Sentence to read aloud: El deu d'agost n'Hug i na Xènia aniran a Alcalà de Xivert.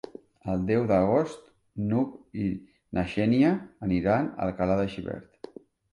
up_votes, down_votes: 2, 1